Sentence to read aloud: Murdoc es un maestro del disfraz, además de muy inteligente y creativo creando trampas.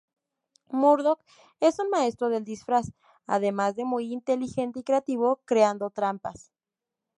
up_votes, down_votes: 0, 2